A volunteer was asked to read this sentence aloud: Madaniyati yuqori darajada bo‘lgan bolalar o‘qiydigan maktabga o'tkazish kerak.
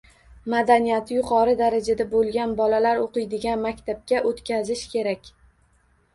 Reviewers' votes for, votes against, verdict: 1, 2, rejected